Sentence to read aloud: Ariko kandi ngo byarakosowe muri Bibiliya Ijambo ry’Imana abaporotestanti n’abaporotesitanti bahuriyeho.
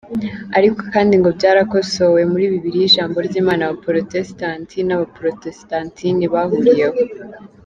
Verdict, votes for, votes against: rejected, 0, 2